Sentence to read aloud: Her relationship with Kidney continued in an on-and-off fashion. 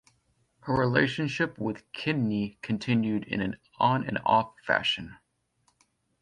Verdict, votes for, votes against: accepted, 2, 0